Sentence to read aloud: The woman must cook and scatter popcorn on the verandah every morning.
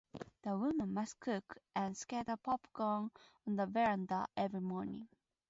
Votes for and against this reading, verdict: 4, 0, accepted